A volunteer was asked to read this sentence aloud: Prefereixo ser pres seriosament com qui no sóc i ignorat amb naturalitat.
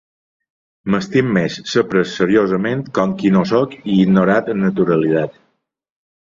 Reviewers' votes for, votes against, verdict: 0, 2, rejected